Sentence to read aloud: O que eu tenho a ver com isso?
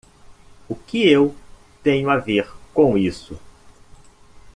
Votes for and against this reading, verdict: 1, 2, rejected